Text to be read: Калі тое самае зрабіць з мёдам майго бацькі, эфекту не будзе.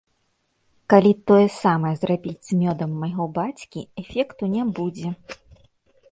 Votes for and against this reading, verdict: 2, 3, rejected